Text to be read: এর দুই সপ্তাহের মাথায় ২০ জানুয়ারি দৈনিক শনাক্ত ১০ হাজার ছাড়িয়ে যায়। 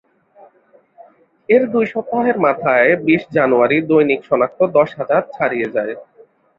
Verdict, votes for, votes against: rejected, 0, 2